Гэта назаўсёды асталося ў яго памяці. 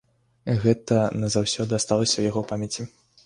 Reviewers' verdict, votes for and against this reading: rejected, 0, 2